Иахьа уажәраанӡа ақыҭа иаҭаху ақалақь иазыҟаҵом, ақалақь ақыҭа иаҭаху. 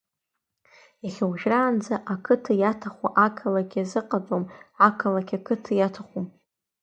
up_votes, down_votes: 3, 1